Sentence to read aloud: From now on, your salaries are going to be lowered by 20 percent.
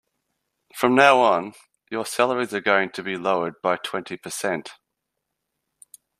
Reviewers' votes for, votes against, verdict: 0, 2, rejected